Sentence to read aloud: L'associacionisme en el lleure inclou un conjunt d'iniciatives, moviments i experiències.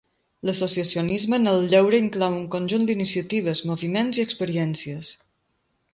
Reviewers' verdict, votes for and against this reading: rejected, 0, 2